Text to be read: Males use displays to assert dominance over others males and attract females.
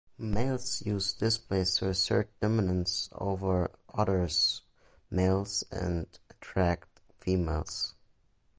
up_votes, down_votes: 2, 0